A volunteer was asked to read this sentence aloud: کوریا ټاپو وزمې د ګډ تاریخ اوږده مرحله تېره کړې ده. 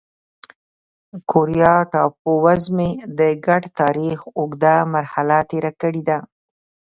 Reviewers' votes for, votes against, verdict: 2, 0, accepted